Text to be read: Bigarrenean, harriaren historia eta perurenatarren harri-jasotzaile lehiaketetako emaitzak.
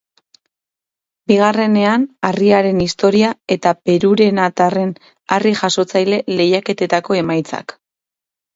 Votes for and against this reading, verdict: 4, 0, accepted